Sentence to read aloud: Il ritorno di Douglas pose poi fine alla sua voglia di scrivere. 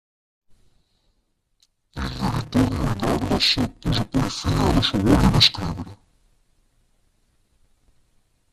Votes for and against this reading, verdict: 0, 2, rejected